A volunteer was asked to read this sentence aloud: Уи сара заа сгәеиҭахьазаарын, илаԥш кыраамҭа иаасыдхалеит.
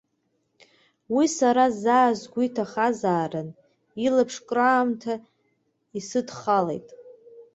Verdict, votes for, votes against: accepted, 2, 1